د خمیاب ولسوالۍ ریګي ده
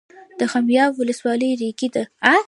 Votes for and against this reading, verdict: 0, 2, rejected